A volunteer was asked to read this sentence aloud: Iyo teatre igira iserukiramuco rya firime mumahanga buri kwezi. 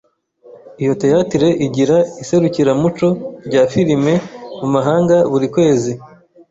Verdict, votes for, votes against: accepted, 2, 0